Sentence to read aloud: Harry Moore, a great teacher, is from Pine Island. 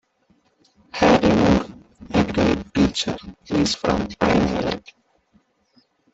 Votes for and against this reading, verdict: 0, 2, rejected